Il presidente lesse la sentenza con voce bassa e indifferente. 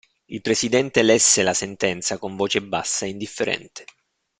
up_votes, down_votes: 2, 0